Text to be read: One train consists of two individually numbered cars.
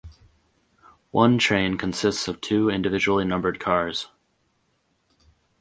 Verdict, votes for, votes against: accepted, 2, 0